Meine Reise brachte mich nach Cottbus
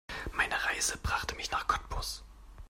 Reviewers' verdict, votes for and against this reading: accepted, 2, 0